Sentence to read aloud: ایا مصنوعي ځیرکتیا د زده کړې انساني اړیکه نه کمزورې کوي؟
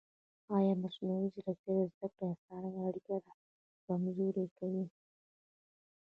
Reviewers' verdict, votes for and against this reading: accepted, 2, 0